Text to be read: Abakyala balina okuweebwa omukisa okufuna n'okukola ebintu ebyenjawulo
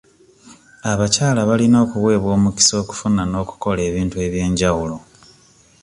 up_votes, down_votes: 2, 1